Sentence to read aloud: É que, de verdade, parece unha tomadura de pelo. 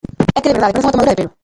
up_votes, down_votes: 0, 2